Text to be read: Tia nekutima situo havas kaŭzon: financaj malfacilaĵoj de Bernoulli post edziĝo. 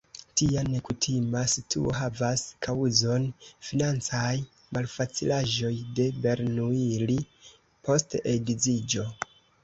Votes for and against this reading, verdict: 2, 0, accepted